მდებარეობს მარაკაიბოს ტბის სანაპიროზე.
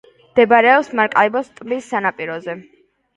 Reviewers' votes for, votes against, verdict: 2, 1, accepted